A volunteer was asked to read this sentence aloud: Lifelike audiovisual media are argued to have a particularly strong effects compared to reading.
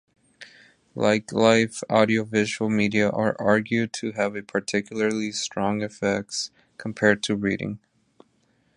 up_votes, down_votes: 1, 2